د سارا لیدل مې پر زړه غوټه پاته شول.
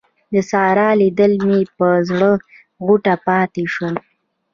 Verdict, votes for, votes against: accepted, 2, 1